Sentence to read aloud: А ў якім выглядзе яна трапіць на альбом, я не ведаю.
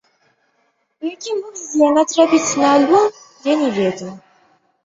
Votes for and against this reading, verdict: 1, 2, rejected